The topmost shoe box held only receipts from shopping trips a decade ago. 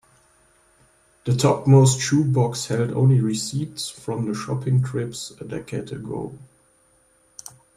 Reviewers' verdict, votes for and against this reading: rejected, 0, 2